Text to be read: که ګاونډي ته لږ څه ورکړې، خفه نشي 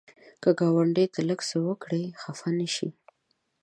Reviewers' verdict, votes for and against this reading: rejected, 1, 2